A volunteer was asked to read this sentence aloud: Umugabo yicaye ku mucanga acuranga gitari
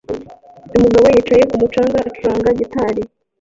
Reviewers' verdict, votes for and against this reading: rejected, 1, 2